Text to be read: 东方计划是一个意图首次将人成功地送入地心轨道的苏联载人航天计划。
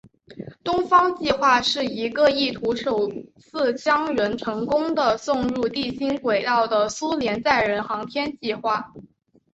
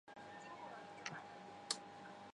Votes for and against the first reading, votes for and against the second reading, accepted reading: 5, 0, 1, 4, first